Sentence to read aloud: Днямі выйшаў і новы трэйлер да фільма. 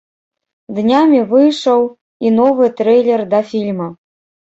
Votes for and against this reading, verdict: 3, 0, accepted